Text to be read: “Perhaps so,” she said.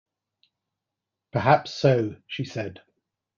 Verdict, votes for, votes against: accepted, 2, 0